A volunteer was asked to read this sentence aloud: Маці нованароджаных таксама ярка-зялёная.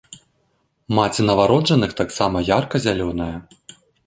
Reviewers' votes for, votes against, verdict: 0, 2, rejected